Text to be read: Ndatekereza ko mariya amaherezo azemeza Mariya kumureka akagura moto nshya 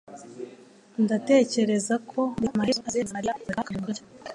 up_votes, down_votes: 1, 2